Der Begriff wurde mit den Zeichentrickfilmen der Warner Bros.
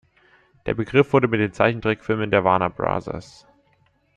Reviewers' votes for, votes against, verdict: 2, 0, accepted